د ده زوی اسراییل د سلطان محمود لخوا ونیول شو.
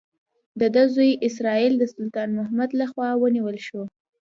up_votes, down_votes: 2, 0